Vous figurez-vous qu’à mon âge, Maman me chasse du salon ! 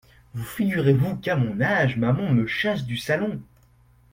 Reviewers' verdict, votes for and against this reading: accepted, 2, 0